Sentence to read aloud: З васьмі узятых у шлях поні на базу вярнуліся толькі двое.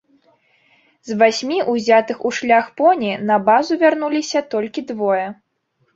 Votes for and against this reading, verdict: 2, 0, accepted